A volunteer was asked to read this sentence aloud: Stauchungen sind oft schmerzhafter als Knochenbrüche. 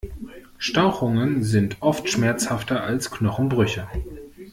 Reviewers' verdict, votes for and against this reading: accepted, 2, 0